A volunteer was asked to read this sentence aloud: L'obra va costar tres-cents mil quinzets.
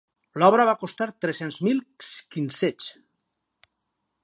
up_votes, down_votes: 0, 4